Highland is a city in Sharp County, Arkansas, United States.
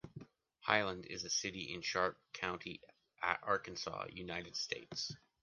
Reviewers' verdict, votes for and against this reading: rejected, 1, 2